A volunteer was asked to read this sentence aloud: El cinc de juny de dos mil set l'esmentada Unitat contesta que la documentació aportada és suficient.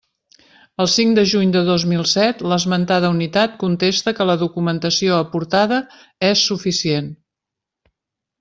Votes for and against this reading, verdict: 3, 0, accepted